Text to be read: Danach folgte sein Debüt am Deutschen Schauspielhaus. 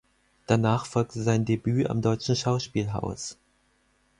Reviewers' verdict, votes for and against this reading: accepted, 4, 0